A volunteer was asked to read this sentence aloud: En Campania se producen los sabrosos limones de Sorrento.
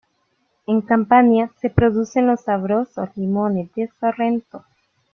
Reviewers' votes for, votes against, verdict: 2, 1, accepted